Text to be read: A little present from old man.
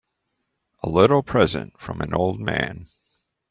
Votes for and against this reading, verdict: 0, 4, rejected